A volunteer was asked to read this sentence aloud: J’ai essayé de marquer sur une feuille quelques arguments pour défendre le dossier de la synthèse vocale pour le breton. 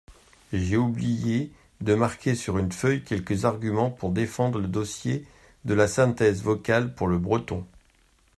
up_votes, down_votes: 0, 2